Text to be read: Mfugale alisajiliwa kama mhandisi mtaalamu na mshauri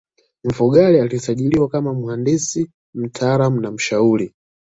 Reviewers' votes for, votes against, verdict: 2, 0, accepted